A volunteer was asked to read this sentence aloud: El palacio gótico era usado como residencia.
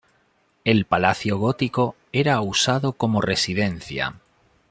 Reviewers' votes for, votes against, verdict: 2, 0, accepted